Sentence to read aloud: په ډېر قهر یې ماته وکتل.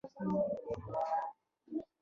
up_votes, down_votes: 0, 2